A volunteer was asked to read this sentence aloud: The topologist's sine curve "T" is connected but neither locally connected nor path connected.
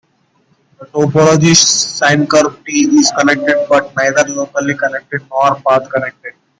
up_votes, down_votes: 2, 1